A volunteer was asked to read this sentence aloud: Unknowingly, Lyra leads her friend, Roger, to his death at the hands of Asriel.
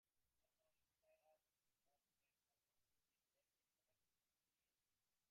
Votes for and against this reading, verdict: 0, 2, rejected